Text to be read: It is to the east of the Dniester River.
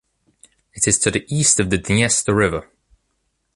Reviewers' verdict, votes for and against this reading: accepted, 2, 1